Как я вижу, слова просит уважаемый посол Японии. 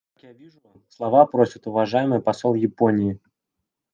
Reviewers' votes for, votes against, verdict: 0, 2, rejected